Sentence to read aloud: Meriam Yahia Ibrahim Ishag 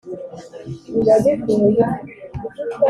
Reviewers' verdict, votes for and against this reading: rejected, 1, 2